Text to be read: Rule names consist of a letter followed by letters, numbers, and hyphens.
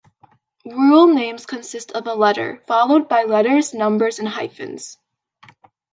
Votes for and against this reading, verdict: 2, 0, accepted